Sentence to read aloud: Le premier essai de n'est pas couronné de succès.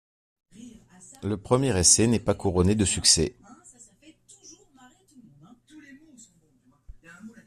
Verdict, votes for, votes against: rejected, 0, 2